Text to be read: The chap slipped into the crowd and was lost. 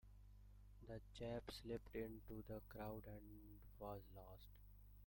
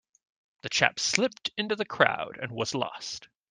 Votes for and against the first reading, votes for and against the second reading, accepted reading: 1, 2, 2, 0, second